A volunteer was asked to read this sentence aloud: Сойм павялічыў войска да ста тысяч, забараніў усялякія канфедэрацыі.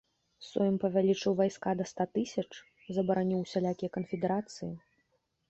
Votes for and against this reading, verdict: 0, 2, rejected